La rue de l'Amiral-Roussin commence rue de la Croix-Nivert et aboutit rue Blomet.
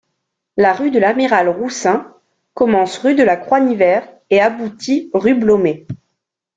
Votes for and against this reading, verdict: 2, 0, accepted